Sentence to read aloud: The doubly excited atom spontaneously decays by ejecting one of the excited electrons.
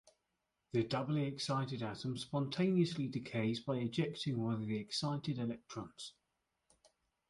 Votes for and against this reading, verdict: 2, 1, accepted